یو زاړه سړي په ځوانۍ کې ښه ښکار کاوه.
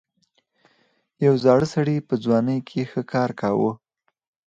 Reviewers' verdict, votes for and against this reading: accepted, 4, 0